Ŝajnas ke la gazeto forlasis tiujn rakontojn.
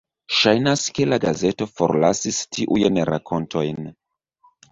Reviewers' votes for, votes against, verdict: 2, 0, accepted